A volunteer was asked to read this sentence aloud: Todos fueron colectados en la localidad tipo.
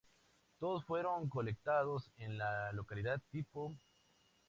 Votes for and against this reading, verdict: 2, 0, accepted